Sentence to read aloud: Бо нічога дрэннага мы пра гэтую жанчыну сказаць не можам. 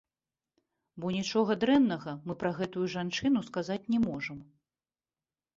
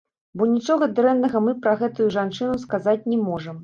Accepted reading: first